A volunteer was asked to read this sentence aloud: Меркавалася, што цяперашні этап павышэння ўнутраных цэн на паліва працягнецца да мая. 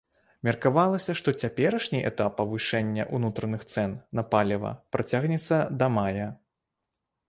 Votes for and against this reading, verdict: 2, 0, accepted